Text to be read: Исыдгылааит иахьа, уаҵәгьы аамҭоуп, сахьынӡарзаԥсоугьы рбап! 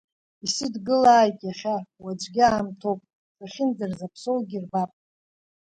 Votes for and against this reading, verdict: 3, 0, accepted